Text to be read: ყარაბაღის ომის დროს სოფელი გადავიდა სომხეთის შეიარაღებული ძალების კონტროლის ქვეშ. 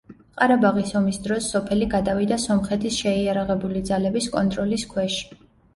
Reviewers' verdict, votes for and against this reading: accepted, 2, 0